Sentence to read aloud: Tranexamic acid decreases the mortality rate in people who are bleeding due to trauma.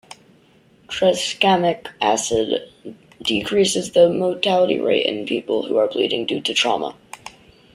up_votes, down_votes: 0, 2